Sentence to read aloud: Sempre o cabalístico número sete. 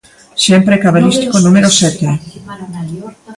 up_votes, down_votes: 0, 2